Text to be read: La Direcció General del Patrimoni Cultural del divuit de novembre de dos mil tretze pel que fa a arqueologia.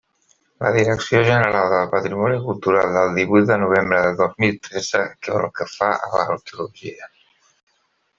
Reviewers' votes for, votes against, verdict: 0, 2, rejected